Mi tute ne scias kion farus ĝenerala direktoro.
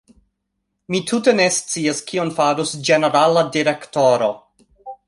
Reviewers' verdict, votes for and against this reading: accepted, 2, 1